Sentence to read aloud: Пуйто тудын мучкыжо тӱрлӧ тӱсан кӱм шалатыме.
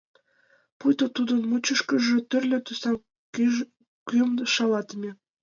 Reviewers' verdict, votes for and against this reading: rejected, 1, 4